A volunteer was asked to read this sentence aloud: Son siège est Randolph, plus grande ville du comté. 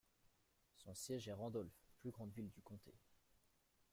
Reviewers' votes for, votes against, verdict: 1, 2, rejected